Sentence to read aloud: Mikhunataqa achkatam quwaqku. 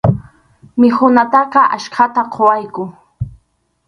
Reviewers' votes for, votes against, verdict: 0, 2, rejected